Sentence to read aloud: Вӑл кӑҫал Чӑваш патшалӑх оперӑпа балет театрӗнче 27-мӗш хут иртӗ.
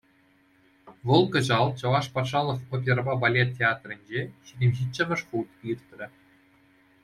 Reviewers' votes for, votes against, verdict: 0, 2, rejected